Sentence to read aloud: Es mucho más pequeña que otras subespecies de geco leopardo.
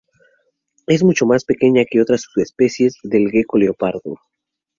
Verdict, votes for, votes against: rejected, 2, 2